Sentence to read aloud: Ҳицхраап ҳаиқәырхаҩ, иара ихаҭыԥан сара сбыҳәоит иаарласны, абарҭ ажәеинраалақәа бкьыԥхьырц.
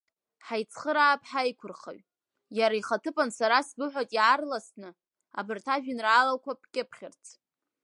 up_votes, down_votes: 0, 2